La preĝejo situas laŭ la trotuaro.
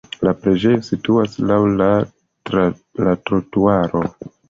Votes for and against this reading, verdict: 1, 2, rejected